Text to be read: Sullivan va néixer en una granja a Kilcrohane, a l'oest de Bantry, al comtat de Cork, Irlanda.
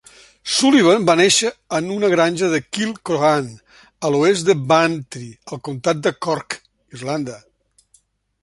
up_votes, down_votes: 2, 1